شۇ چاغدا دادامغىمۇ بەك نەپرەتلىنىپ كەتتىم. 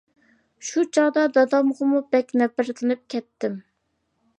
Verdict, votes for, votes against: accepted, 2, 0